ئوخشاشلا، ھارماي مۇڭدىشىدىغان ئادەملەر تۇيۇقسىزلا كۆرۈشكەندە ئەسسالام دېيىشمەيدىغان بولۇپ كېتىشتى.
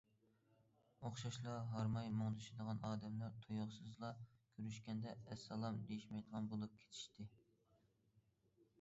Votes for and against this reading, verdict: 2, 0, accepted